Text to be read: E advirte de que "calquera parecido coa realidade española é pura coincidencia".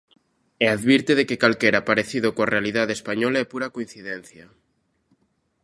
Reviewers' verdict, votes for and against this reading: accepted, 2, 0